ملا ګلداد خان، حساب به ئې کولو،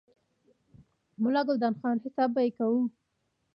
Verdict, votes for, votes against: rejected, 1, 2